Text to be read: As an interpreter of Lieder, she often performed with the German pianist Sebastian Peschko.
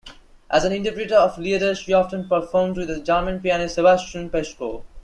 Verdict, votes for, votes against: accepted, 2, 0